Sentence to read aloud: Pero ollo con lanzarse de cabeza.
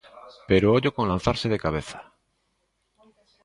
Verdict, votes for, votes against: accepted, 2, 1